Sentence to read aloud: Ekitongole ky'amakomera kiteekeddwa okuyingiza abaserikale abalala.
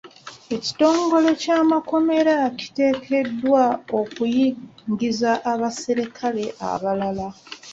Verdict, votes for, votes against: rejected, 1, 2